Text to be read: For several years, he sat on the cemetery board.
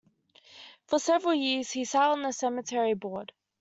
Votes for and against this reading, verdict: 2, 0, accepted